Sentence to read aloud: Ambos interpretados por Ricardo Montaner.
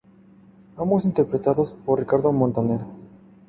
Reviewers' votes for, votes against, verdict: 4, 0, accepted